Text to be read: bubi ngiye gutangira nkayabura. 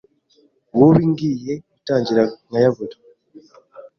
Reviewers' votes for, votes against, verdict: 2, 0, accepted